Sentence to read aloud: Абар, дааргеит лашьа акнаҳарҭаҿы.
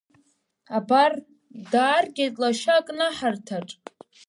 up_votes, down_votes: 0, 2